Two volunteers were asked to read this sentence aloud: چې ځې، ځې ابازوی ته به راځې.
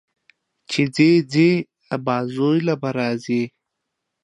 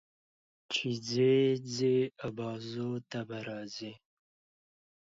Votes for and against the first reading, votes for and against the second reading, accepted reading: 0, 2, 2, 0, second